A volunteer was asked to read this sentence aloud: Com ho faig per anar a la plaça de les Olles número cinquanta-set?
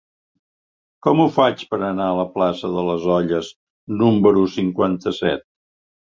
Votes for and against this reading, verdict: 3, 0, accepted